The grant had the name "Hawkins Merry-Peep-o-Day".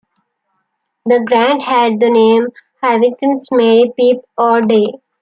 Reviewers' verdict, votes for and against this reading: accepted, 2, 1